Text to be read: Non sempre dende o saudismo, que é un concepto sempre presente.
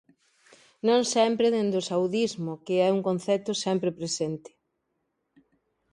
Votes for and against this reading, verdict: 2, 0, accepted